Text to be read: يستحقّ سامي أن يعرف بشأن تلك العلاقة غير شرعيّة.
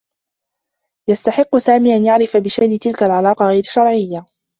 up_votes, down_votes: 1, 2